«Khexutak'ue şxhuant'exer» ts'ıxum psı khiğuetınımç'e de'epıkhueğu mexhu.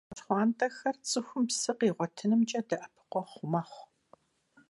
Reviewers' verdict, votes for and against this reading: rejected, 0, 2